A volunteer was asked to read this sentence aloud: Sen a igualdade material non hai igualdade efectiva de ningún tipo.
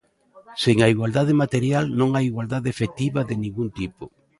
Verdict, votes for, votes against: accepted, 2, 0